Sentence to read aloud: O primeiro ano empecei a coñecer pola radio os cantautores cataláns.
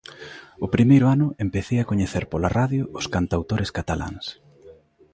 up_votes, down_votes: 0, 2